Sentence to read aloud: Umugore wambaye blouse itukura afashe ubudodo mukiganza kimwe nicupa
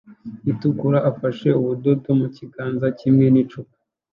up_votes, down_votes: 0, 2